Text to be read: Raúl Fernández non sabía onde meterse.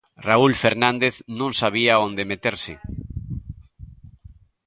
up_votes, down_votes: 2, 0